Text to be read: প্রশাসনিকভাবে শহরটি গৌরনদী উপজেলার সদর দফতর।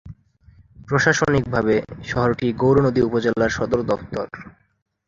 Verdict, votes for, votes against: accepted, 8, 1